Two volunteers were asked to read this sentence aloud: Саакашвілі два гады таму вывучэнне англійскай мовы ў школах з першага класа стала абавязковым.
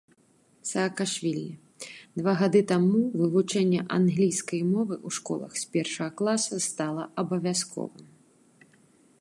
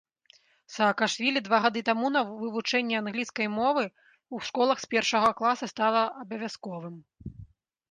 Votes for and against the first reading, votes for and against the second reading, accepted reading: 3, 0, 0, 2, first